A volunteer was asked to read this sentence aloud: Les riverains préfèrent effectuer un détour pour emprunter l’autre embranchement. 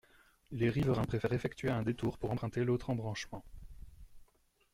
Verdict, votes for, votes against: rejected, 1, 2